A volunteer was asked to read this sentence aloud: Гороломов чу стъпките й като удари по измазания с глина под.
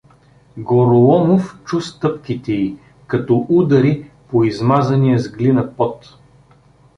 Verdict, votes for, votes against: rejected, 0, 2